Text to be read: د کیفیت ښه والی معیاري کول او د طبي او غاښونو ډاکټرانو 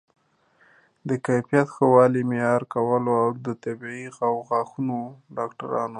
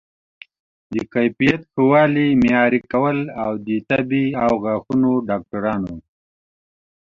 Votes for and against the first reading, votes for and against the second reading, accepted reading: 2, 0, 1, 2, first